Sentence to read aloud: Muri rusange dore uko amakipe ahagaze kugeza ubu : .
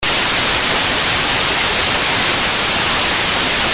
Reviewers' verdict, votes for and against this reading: rejected, 0, 2